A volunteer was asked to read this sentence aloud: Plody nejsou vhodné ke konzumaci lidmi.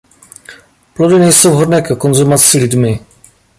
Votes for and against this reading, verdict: 2, 0, accepted